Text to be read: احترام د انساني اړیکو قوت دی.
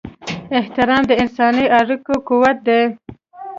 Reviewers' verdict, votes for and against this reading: accepted, 2, 0